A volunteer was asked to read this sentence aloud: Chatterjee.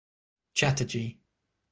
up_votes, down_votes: 6, 0